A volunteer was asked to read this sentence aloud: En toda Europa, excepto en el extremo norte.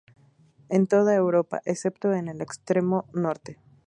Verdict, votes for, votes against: accepted, 2, 0